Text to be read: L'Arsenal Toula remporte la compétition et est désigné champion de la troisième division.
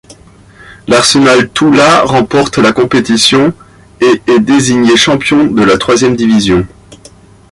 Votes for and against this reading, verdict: 2, 0, accepted